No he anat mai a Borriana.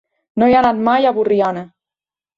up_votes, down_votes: 2, 0